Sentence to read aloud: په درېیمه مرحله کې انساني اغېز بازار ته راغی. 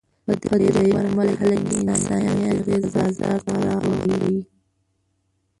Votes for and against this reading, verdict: 1, 2, rejected